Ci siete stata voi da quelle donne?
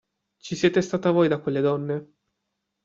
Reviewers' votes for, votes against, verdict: 2, 0, accepted